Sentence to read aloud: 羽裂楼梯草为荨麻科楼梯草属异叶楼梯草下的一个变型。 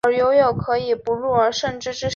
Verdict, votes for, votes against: rejected, 0, 5